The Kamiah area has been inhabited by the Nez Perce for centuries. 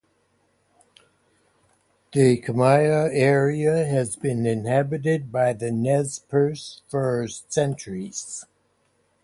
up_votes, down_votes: 4, 0